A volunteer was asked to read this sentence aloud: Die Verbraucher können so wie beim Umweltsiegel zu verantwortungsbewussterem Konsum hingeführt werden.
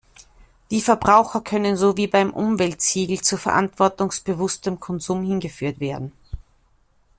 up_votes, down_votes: 1, 2